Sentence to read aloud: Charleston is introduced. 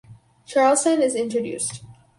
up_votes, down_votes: 4, 0